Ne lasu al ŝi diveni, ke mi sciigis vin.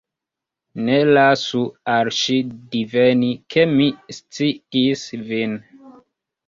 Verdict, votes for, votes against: rejected, 0, 2